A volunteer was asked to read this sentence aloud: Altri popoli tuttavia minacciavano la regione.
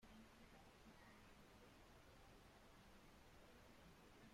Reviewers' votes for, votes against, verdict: 0, 2, rejected